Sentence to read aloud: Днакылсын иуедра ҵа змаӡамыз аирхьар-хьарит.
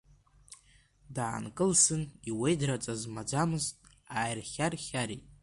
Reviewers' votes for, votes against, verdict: 0, 2, rejected